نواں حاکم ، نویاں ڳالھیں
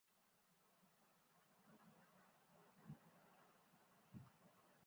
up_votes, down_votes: 0, 2